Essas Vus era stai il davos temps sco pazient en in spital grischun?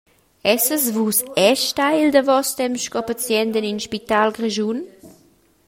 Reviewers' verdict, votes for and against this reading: accepted, 2, 0